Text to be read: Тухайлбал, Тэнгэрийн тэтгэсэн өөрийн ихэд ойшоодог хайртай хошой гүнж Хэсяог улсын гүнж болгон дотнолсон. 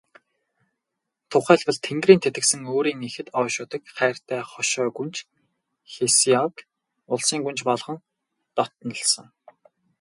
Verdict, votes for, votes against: rejected, 0, 2